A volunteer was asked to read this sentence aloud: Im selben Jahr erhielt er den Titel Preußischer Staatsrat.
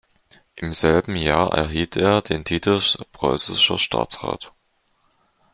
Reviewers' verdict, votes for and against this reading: accepted, 2, 0